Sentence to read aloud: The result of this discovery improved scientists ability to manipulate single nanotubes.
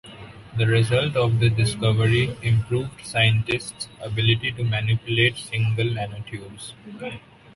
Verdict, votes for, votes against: accepted, 2, 0